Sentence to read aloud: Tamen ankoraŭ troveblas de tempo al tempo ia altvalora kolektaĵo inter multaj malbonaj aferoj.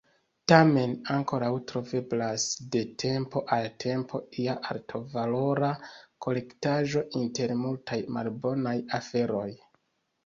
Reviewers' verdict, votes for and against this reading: rejected, 1, 2